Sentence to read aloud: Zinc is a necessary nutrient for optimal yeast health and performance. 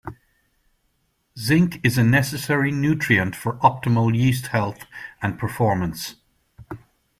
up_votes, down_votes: 2, 0